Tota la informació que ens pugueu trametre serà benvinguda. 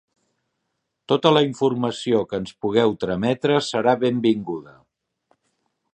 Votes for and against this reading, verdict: 4, 0, accepted